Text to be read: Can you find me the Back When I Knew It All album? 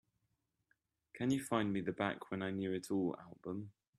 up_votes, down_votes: 2, 0